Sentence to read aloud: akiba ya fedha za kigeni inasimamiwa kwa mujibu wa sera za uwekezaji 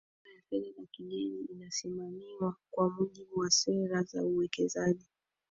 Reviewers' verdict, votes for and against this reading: rejected, 1, 3